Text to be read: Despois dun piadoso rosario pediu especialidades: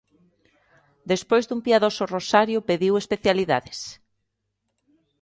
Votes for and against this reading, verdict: 2, 0, accepted